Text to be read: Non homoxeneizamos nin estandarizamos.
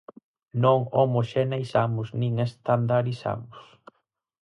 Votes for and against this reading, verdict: 4, 0, accepted